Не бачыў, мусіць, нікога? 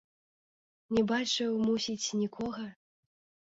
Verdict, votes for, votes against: rejected, 1, 2